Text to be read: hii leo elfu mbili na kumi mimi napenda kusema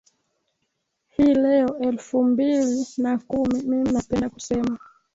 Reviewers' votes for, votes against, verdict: 1, 2, rejected